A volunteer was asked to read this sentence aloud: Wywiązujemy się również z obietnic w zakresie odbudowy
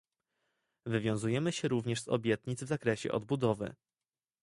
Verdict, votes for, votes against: accepted, 2, 0